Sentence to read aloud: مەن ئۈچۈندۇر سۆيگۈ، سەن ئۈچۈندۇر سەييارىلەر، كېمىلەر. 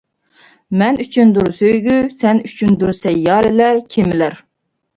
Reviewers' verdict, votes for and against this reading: accepted, 2, 0